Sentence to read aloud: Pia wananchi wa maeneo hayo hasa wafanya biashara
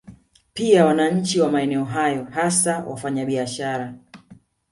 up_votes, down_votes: 2, 0